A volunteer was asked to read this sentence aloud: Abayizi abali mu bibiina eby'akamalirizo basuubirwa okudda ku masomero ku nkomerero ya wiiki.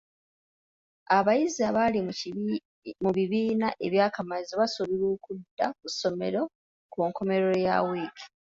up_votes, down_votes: 1, 2